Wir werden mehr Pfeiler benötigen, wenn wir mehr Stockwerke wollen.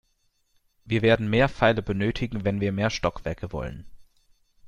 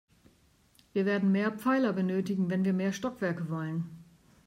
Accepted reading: second